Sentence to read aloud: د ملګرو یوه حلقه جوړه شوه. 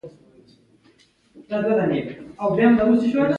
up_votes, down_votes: 0, 2